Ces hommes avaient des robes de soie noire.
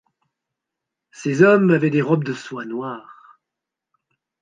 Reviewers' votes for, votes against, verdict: 2, 0, accepted